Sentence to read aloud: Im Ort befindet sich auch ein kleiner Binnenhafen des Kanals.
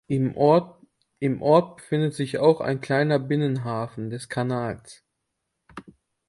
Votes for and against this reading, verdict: 1, 2, rejected